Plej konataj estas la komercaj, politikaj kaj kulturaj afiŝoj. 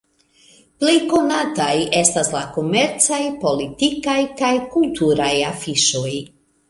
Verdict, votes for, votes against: accepted, 2, 0